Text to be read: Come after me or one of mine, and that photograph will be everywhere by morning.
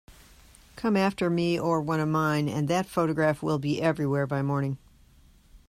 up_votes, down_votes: 2, 0